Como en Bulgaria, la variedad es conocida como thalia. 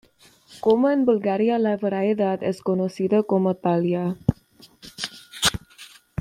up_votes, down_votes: 0, 2